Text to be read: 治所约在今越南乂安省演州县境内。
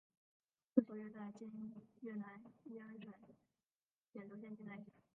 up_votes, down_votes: 0, 2